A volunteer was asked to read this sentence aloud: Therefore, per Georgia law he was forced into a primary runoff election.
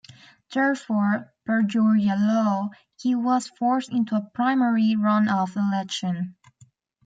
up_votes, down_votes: 2, 0